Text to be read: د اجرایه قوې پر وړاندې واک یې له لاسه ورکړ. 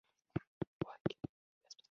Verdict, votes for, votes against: rejected, 0, 2